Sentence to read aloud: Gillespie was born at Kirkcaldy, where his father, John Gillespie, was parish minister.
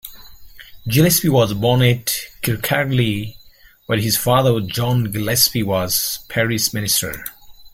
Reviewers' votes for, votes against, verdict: 1, 3, rejected